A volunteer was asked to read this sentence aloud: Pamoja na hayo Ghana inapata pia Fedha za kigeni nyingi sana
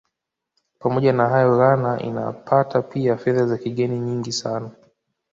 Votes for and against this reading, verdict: 0, 2, rejected